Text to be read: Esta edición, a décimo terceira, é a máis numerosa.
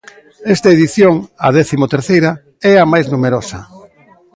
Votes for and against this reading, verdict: 2, 0, accepted